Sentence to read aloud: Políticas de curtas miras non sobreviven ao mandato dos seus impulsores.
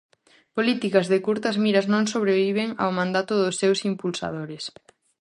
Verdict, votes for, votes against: rejected, 0, 2